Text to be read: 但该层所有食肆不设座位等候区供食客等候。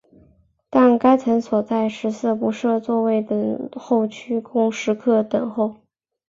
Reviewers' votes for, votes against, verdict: 3, 0, accepted